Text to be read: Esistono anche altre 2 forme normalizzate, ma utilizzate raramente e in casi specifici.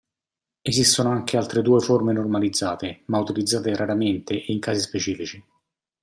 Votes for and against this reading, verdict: 0, 2, rejected